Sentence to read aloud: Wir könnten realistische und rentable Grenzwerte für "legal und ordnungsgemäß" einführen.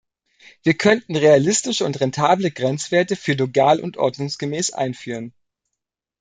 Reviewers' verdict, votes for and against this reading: accepted, 2, 0